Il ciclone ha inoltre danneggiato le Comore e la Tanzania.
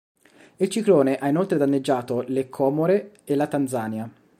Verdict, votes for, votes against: rejected, 0, 2